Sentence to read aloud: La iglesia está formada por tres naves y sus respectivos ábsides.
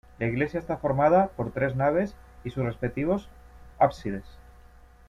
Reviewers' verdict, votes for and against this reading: rejected, 1, 2